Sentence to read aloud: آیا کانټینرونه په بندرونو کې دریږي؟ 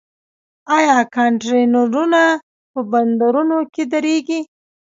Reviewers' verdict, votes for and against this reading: rejected, 1, 2